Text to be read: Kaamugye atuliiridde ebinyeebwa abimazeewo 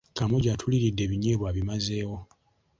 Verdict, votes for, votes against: accepted, 2, 0